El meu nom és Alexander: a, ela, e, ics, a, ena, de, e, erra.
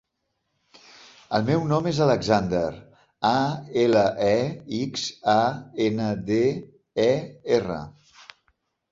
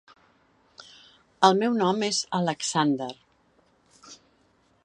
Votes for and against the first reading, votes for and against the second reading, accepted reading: 4, 0, 0, 2, first